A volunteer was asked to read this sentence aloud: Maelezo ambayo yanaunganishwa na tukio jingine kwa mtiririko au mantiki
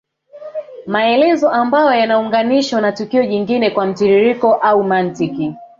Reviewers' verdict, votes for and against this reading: rejected, 1, 2